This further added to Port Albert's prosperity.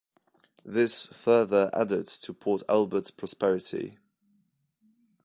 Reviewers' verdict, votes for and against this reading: accepted, 2, 0